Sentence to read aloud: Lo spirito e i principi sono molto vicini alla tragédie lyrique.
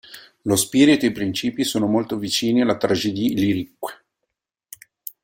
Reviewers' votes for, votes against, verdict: 1, 2, rejected